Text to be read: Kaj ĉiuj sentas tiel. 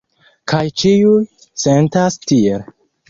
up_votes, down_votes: 1, 2